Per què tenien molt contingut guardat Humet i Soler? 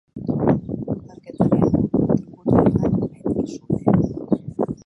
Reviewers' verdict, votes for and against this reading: rejected, 0, 2